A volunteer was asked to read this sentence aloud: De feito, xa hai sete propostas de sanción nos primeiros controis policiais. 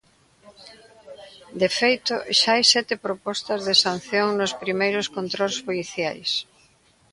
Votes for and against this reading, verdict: 1, 2, rejected